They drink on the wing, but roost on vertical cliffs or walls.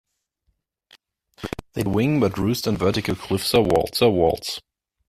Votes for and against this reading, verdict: 0, 2, rejected